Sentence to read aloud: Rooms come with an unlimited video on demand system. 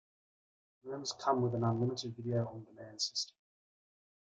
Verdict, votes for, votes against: rejected, 0, 2